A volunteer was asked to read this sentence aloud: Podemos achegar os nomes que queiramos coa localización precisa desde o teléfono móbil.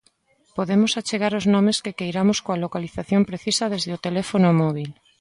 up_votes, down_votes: 2, 0